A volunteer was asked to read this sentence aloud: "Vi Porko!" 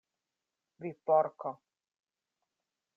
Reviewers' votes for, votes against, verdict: 2, 0, accepted